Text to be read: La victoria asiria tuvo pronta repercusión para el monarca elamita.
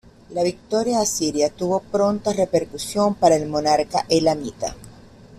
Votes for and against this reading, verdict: 2, 0, accepted